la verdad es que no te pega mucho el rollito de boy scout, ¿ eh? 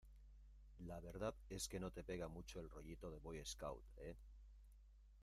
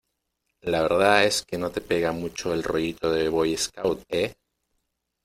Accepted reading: second